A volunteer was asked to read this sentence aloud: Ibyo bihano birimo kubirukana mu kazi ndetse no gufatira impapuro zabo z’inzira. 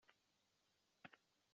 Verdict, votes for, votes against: rejected, 0, 2